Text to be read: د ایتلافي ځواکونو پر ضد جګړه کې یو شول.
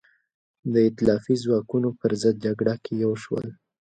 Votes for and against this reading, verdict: 2, 0, accepted